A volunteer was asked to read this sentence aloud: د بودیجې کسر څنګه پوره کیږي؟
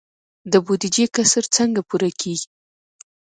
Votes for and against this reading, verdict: 2, 0, accepted